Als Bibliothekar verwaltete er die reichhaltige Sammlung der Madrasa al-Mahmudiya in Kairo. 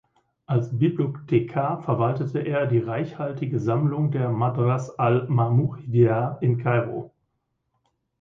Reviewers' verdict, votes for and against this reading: rejected, 0, 2